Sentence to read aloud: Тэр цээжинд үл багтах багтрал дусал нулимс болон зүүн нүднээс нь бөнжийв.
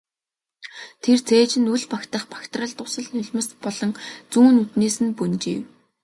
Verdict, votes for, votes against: accepted, 2, 0